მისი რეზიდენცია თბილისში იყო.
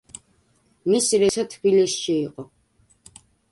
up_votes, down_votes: 0, 2